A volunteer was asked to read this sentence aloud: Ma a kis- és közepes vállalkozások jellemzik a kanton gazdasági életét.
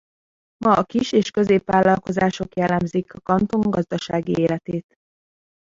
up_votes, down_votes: 0, 2